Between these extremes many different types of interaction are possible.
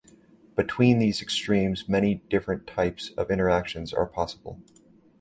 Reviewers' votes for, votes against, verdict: 1, 2, rejected